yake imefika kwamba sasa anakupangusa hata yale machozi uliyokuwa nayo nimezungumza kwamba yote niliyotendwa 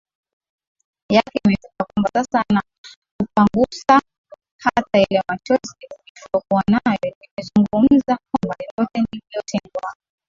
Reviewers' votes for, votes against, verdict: 10, 11, rejected